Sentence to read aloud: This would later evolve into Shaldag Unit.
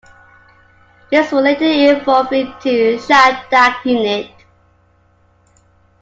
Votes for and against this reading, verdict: 2, 0, accepted